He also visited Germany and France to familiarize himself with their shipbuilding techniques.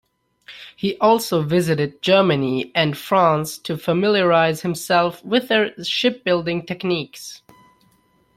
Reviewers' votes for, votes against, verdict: 2, 0, accepted